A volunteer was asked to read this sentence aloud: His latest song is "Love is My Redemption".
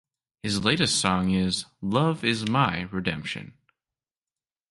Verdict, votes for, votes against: accepted, 2, 0